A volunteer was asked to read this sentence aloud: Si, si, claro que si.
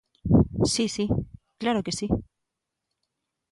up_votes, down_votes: 2, 0